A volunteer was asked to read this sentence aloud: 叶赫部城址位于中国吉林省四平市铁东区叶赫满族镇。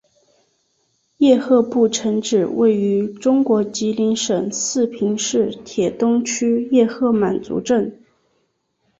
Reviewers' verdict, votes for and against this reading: accepted, 2, 0